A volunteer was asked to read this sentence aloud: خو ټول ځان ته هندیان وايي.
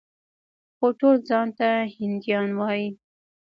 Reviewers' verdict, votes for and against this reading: rejected, 1, 2